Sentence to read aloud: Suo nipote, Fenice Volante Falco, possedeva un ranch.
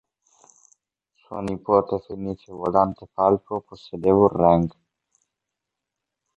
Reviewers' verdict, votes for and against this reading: rejected, 0, 2